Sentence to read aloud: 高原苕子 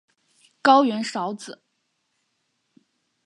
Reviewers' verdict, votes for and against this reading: accepted, 2, 0